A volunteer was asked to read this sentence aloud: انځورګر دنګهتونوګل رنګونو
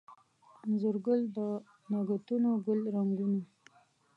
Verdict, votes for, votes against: rejected, 0, 2